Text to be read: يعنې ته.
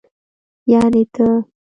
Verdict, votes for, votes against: rejected, 1, 2